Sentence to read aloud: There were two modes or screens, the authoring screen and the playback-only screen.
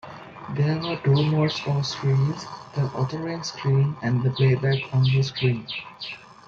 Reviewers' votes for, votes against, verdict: 2, 1, accepted